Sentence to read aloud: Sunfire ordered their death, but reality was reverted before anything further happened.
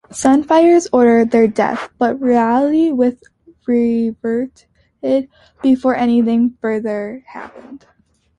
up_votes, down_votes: 1, 2